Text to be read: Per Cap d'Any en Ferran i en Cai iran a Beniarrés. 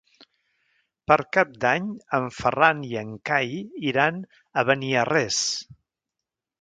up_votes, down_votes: 3, 0